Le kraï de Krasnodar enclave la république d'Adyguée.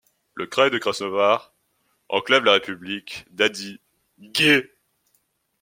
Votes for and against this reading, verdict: 2, 1, accepted